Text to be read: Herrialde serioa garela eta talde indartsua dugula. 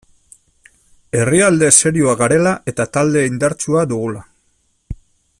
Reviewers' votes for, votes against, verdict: 2, 1, accepted